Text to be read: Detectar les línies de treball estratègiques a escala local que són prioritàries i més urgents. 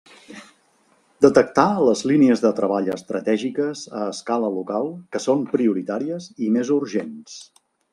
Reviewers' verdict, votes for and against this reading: accepted, 3, 0